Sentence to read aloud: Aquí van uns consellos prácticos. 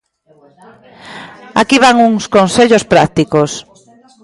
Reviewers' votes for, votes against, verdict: 0, 2, rejected